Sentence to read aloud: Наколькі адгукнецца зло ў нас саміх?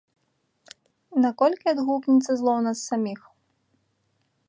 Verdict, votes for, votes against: rejected, 1, 2